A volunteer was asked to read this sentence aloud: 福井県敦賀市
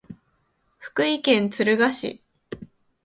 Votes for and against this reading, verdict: 2, 0, accepted